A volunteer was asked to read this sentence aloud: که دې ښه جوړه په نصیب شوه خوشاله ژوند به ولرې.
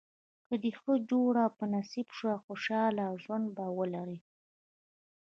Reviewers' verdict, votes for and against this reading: accepted, 2, 0